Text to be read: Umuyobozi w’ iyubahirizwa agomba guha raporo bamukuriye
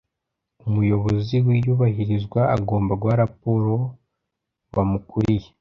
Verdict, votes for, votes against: accepted, 2, 0